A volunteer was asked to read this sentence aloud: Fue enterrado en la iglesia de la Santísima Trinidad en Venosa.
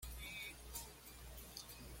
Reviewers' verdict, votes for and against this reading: rejected, 1, 2